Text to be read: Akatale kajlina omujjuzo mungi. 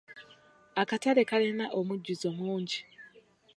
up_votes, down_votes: 1, 2